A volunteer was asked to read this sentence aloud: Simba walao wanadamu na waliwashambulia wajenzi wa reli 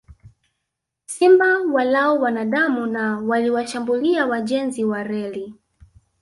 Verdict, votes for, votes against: rejected, 1, 2